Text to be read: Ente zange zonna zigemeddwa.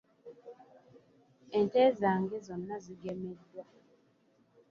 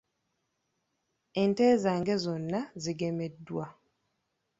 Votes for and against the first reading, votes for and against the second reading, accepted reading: 0, 2, 3, 1, second